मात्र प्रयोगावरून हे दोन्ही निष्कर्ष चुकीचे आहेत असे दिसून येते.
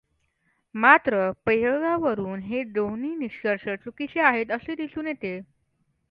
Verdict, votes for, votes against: accepted, 2, 0